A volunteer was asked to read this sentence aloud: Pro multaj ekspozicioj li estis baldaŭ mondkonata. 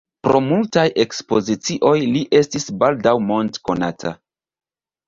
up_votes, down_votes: 2, 1